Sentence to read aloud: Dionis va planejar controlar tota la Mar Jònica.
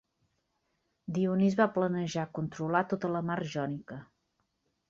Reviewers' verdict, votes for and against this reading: accepted, 2, 0